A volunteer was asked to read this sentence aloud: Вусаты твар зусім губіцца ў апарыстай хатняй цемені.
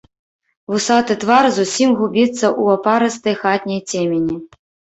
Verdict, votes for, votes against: rejected, 1, 2